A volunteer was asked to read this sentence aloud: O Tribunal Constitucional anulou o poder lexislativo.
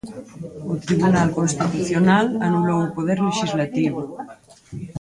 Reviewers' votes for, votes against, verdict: 0, 4, rejected